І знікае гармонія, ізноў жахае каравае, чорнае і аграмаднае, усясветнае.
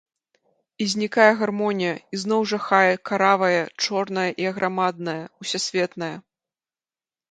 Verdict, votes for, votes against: accepted, 2, 0